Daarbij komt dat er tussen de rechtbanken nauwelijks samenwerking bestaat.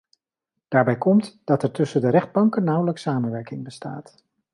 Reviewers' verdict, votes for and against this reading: accepted, 2, 0